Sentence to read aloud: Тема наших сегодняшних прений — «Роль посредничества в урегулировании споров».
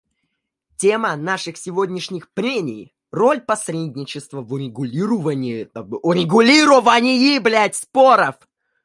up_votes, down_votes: 1, 2